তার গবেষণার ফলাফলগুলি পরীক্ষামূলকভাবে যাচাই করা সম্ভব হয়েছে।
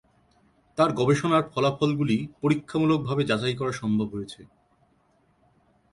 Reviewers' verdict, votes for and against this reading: accepted, 3, 0